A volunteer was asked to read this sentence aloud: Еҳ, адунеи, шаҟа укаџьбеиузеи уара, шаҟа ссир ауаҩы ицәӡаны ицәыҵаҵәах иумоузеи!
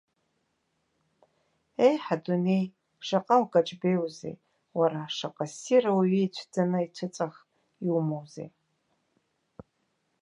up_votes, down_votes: 0, 2